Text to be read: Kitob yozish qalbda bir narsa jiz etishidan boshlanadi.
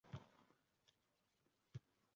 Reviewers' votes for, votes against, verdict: 0, 2, rejected